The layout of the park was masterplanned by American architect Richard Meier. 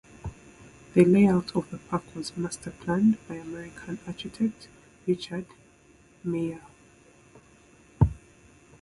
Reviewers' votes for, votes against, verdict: 0, 2, rejected